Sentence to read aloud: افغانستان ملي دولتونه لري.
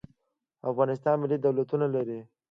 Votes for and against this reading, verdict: 2, 0, accepted